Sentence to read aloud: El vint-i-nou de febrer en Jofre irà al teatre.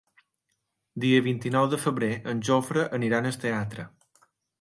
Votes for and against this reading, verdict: 0, 2, rejected